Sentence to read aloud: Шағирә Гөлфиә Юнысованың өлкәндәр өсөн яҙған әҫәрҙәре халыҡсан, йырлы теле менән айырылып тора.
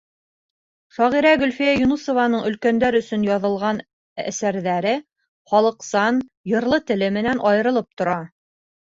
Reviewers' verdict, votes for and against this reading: rejected, 1, 2